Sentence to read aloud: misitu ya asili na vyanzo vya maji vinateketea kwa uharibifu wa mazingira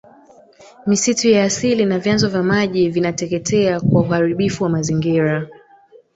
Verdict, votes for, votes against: rejected, 0, 2